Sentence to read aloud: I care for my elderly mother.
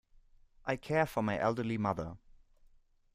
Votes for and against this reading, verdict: 1, 2, rejected